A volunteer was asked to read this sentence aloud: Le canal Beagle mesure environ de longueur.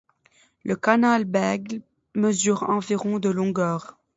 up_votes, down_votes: 1, 2